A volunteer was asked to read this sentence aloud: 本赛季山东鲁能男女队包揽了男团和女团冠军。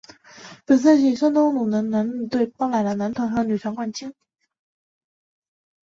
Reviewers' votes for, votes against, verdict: 2, 1, accepted